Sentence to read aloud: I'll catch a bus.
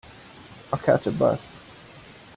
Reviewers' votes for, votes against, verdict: 2, 0, accepted